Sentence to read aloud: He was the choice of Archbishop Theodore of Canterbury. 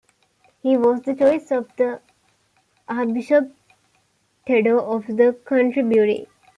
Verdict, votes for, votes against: rejected, 0, 2